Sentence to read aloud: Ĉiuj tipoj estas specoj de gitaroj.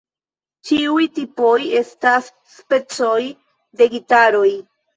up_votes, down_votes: 1, 2